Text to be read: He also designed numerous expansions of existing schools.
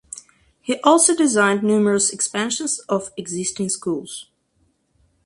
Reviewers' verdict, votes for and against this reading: accepted, 4, 0